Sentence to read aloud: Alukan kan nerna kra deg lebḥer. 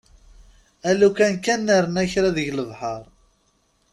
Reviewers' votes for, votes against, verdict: 2, 0, accepted